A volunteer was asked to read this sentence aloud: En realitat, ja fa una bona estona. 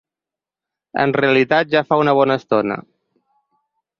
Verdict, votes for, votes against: accepted, 6, 0